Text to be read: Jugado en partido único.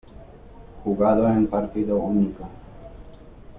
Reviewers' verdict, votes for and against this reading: accepted, 2, 1